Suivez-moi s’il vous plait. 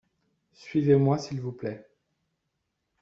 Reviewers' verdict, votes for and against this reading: accepted, 2, 0